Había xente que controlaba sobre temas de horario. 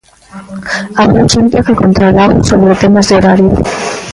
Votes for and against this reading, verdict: 0, 2, rejected